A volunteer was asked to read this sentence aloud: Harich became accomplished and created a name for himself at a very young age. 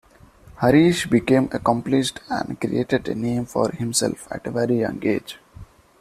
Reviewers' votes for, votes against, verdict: 2, 0, accepted